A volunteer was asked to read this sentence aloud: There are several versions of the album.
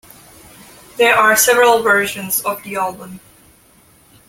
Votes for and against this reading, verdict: 2, 1, accepted